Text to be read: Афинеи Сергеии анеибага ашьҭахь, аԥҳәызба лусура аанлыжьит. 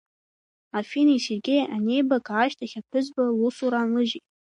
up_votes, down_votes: 2, 0